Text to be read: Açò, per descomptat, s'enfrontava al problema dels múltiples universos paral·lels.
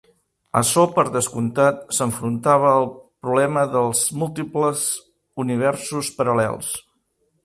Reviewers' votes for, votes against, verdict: 5, 1, accepted